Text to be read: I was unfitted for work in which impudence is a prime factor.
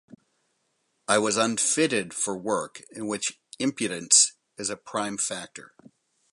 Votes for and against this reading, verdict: 4, 0, accepted